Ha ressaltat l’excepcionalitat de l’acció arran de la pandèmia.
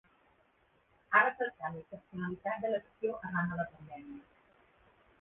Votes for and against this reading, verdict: 1, 3, rejected